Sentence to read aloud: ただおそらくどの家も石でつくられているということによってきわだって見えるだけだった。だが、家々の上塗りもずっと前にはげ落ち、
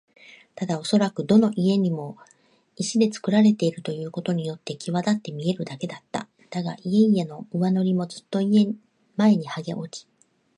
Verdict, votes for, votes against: rejected, 1, 2